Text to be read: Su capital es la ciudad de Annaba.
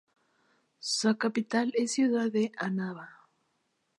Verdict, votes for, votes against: rejected, 2, 2